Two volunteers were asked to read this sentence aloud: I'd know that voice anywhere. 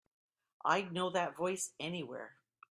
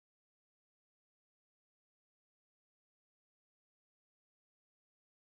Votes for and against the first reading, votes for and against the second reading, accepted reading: 2, 0, 0, 3, first